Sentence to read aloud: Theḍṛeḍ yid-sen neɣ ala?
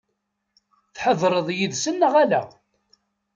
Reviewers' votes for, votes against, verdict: 1, 2, rejected